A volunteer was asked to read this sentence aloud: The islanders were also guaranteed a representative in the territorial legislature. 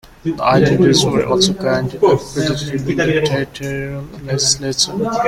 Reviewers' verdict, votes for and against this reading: rejected, 0, 2